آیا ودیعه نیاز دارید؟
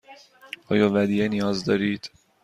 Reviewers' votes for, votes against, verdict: 2, 0, accepted